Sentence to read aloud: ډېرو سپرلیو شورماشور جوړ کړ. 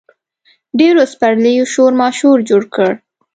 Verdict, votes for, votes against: accepted, 3, 0